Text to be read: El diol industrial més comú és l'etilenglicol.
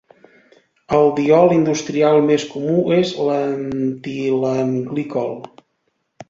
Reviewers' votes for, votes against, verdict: 0, 2, rejected